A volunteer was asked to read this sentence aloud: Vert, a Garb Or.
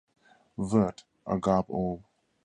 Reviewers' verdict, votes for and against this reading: rejected, 0, 2